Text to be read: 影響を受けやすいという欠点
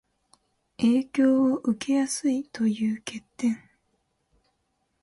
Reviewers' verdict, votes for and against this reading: accepted, 3, 0